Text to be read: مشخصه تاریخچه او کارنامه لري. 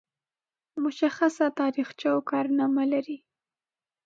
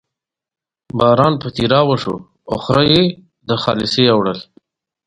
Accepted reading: first